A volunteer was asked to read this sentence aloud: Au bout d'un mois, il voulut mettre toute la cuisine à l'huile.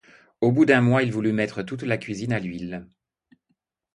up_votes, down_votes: 2, 0